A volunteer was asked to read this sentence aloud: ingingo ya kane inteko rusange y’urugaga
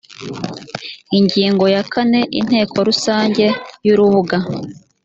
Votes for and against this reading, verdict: 0, 3, rejected